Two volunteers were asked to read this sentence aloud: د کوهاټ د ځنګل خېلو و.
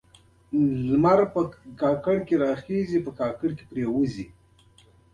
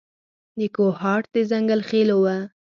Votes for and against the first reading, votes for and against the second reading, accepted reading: 0, 2, 4, 0, second